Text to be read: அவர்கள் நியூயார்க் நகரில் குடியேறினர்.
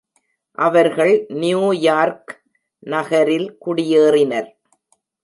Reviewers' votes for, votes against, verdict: 2, 0, accepted